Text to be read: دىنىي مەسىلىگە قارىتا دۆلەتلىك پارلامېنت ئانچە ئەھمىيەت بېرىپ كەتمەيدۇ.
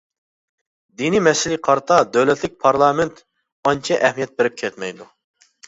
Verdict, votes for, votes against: accepted, 2, 0